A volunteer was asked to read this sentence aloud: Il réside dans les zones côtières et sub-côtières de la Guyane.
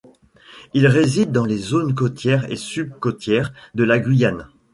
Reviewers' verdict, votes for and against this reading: rejected, 1, 2